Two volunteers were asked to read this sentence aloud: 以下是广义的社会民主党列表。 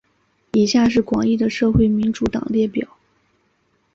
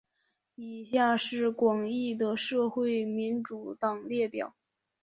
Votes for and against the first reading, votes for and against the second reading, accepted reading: 2, 0, 0, 2, first